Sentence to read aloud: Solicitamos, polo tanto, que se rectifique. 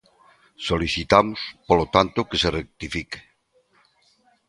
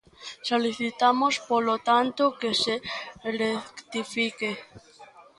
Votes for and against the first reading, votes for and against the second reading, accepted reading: 2, 0, 0, 2, first